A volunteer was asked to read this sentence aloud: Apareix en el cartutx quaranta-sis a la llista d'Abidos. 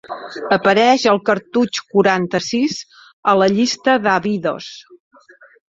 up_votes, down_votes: 0, 2